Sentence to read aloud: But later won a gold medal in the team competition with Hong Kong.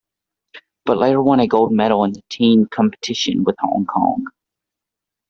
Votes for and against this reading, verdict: 2, 0, accepted